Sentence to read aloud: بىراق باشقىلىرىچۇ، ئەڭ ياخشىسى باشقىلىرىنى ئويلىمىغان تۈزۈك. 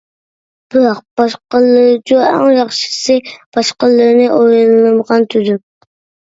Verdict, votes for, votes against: rejected, 1, 2